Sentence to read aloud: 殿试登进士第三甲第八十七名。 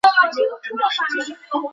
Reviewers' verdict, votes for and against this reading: rejected, 1, 3